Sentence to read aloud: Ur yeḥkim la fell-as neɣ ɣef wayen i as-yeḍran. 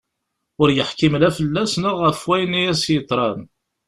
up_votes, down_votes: 2, 0